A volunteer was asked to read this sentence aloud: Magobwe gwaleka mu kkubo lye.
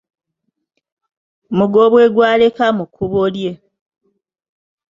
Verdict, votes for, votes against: rejected, 0, 2